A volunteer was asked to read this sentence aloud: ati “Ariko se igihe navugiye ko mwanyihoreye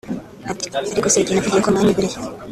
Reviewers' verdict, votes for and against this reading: rejected, 1, 2